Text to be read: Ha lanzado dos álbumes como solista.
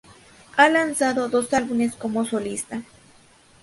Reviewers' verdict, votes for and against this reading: rejected, 0, 2